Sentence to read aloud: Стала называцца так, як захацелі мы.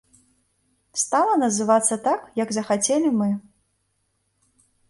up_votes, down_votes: 2, 0